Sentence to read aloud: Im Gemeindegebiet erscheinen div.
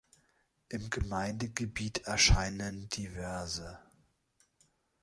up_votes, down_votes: 0, 2